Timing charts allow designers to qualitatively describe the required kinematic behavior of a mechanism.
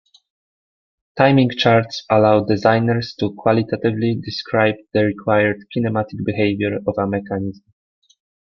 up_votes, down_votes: 2, 0